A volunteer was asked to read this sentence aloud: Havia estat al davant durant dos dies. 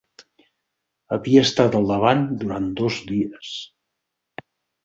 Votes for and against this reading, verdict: 4, 0, accepted